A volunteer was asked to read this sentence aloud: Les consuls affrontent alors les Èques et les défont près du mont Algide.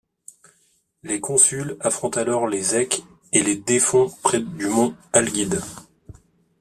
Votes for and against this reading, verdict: 0, 2, rejected